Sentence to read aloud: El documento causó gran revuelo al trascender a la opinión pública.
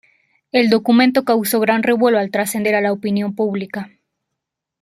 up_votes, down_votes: 2, 0